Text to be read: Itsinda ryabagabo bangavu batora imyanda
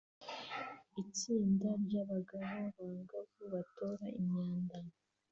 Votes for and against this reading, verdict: 2, 0, accepted